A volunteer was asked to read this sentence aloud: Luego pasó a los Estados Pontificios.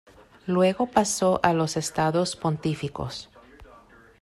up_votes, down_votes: 0, 2